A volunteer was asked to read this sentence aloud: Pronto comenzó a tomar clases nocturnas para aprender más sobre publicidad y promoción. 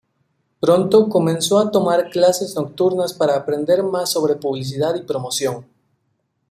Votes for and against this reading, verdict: 2, 0, accepted